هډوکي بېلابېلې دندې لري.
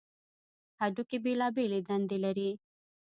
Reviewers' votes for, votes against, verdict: 0, 2, rejected